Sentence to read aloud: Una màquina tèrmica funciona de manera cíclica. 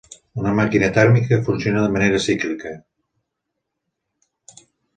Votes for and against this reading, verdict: 2, 0, accepted